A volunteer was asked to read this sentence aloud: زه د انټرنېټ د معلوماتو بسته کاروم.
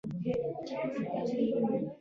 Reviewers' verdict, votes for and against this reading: rejected, 0, 2